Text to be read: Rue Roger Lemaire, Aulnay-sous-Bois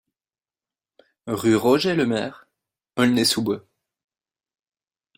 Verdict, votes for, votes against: accepted, 2, 0